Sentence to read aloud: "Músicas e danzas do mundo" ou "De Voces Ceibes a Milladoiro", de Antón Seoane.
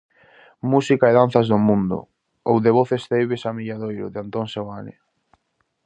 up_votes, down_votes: 0, 2